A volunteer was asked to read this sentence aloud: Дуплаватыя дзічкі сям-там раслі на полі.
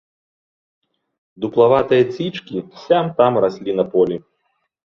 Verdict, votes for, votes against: rejected, 0, 2